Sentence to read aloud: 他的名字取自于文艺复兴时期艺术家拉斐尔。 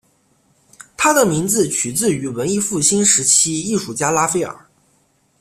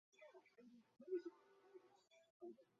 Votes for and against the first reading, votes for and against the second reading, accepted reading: 2, 0, 0, 4, first